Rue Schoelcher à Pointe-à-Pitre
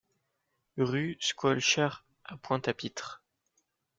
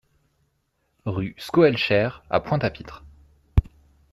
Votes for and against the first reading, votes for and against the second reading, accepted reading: 2, 0, 0, 2, first